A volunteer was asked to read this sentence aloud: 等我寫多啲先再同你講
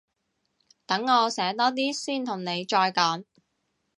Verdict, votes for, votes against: rejected, 0, 2